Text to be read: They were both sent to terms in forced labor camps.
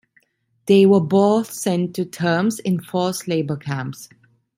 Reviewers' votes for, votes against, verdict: 2, 0, accepted